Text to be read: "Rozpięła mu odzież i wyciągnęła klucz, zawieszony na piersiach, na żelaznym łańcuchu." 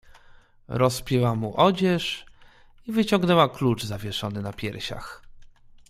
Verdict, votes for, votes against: rejected, 1, 2